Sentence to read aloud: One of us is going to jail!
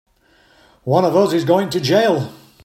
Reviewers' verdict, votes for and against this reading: accepted, 2, 0